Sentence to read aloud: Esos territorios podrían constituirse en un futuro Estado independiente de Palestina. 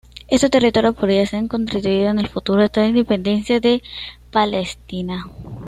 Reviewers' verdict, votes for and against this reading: rejected, 1, 2